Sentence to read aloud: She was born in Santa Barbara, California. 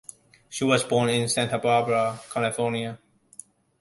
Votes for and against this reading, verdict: 2, 0, accepted